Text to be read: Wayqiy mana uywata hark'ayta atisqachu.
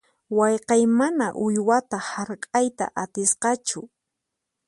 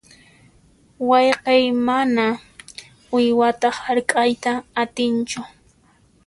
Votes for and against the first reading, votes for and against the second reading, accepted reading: 4, 0, 0, 2, first